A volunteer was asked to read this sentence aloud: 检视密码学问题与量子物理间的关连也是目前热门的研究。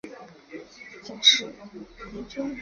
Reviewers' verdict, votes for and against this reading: rejected, 1, 2